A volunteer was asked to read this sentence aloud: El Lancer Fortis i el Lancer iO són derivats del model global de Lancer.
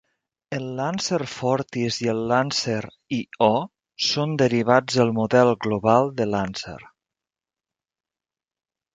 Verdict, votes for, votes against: rejected, 1, 2